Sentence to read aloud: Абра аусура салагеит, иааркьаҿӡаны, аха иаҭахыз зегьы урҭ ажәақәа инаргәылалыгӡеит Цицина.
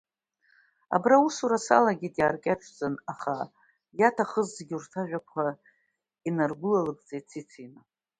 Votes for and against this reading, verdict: 2, 0, accepted